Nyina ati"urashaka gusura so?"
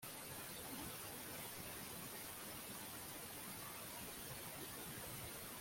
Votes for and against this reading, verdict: 0, 2, rejected